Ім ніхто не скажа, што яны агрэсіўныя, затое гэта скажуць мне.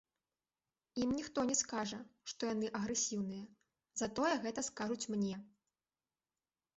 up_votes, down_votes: 2, 0